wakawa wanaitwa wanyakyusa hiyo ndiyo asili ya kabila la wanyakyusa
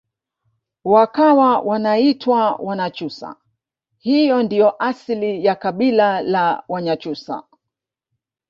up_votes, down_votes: 0, 2